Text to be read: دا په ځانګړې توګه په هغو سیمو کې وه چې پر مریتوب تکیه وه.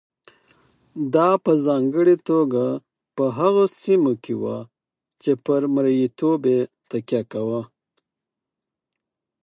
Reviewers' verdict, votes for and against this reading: accepted, 4, 0